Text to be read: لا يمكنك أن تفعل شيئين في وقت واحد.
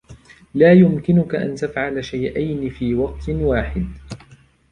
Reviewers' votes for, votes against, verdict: 2, 1, accepted